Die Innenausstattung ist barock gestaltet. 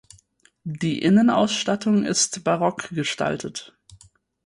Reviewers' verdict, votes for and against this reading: accepted, 4, 0